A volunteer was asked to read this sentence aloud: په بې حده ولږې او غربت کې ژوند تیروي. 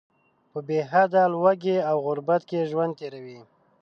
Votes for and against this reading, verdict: 2, 0, accepted